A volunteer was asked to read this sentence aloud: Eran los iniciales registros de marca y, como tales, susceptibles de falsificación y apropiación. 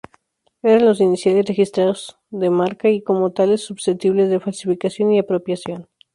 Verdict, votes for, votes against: rejected, 2, 2